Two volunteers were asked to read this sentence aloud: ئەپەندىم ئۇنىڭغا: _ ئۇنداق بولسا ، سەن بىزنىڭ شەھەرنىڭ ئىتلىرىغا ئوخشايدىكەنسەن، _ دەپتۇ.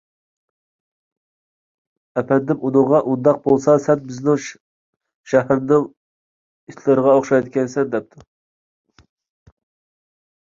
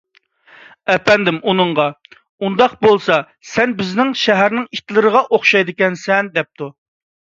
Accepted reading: second